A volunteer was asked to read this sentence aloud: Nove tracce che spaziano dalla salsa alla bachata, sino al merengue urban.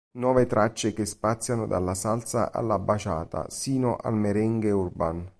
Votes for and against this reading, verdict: 2, 0, accepted